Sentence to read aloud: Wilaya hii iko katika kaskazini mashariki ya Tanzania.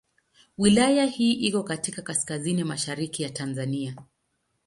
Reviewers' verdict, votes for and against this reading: accepted, 2, 0